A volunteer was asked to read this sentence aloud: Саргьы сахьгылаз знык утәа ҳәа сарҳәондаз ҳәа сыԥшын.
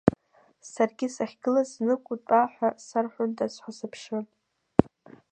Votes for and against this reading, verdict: 2, 3, rejected